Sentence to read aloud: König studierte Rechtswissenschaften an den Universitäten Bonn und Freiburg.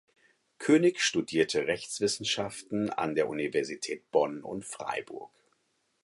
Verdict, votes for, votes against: rejected, 0, 4